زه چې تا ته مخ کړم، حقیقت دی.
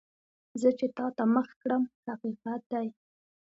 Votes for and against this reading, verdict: 2, 0, accepted